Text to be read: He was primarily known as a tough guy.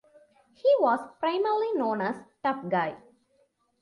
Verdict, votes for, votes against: rejected, 1, 2